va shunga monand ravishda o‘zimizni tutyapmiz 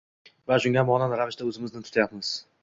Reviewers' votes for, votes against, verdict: 1, 2, rejected